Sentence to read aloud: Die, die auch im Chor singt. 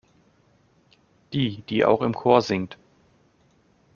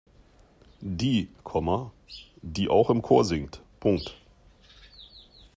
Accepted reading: first